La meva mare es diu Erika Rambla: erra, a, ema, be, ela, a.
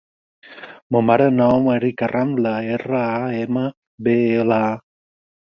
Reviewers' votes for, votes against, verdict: 6, 4, accepted